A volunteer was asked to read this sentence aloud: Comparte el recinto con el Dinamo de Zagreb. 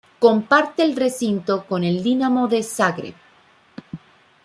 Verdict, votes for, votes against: accepted, 2, 0